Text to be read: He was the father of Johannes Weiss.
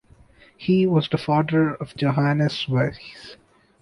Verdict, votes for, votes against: rejected, 1, 2